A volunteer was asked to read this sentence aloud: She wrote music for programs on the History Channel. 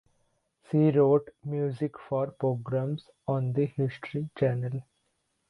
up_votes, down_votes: 2, 1